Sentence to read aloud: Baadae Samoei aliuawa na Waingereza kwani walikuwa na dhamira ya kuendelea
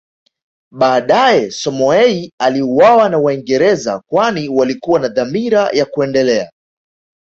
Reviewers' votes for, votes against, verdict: 2, 0, accepted